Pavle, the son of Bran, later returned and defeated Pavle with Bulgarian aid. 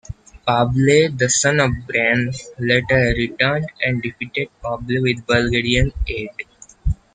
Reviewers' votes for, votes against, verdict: 0, 2, rejected